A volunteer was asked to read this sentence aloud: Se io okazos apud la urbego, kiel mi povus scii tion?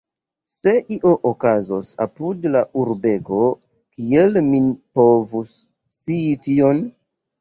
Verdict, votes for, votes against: rejected, 1, 2